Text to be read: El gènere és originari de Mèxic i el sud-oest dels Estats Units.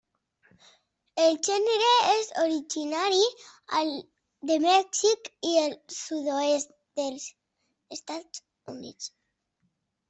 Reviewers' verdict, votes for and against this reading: rejected, 0, 2